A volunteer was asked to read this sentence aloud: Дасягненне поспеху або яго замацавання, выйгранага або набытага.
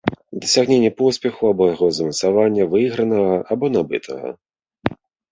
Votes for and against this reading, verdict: 4, 0, accepted